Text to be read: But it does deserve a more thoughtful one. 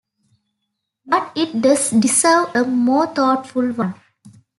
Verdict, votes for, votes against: accepted, 2, 1